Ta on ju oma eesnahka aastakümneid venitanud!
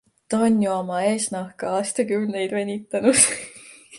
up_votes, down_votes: 2, 0